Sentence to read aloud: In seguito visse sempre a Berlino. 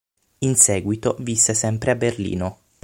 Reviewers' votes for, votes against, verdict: 6, 0, accepted